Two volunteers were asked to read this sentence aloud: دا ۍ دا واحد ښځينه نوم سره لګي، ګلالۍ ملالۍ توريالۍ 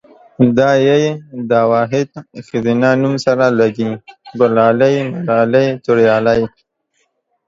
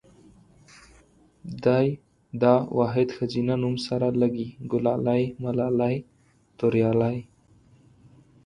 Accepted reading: first